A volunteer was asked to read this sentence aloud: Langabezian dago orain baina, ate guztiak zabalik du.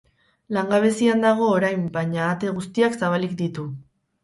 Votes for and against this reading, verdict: 2, 2, rejected